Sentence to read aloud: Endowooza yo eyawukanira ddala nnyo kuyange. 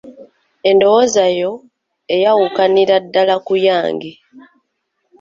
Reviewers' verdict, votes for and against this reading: rejected, 0, 2